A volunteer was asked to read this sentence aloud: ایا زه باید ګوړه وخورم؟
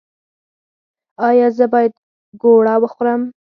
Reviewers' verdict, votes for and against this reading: accepted, 4, 0